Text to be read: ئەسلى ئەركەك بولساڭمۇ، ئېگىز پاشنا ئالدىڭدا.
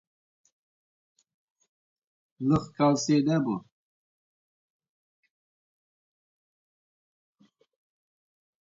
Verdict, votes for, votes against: rejected, 0, 2